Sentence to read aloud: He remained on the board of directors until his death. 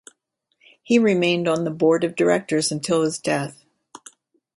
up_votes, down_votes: 2, 0